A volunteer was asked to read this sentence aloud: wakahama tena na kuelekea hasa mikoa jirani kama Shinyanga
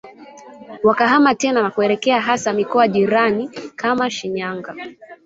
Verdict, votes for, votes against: rejected, 0, 2